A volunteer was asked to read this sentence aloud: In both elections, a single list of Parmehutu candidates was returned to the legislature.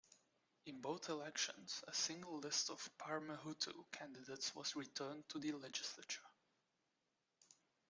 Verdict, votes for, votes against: rejected, 0, 2